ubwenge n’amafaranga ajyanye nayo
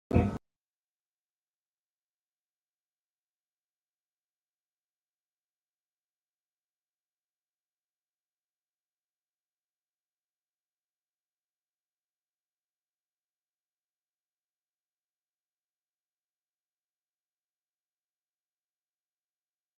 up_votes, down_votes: 1, 2